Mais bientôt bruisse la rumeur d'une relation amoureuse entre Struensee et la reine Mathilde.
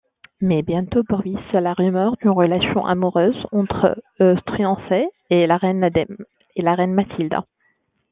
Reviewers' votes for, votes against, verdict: 0, 2, rejected